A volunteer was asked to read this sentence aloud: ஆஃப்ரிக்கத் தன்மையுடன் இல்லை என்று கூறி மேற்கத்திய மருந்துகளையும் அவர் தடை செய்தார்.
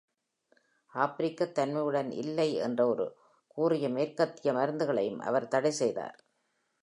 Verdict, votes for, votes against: accepted, 2, 1